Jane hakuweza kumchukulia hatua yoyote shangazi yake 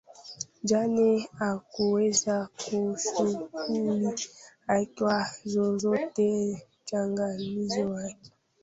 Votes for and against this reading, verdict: 0, 2, rejected